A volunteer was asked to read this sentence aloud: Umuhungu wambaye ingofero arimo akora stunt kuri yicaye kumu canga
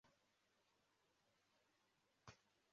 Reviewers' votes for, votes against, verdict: 0, 2, rejected